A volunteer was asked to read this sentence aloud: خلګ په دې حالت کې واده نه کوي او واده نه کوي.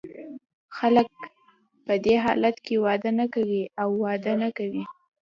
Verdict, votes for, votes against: accepted, 2, 0